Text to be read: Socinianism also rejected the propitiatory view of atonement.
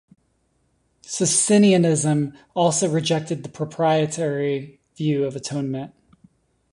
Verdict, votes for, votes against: accepted, 2, 0